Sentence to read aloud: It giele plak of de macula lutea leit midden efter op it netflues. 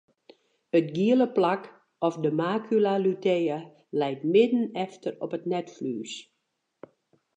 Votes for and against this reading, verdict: 2, 0, accepted